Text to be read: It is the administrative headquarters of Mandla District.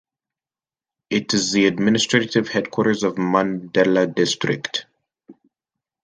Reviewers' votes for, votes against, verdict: 0, 2, rejected